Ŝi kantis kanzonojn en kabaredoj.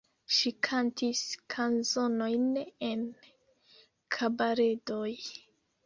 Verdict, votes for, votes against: rejected, 1, 2